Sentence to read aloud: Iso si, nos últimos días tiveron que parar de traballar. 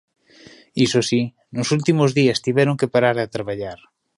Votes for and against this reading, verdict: 0, 2, rejected